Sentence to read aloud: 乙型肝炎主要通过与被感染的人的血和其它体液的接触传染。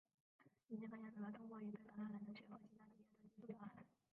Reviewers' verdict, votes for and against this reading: rejected, 0, 3